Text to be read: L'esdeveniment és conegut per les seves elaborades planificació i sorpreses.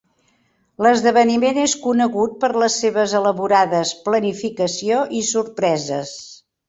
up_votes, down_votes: 3, 0